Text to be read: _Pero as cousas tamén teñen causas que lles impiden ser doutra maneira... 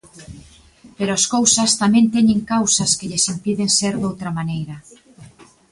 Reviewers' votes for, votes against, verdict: 2, 0, accepted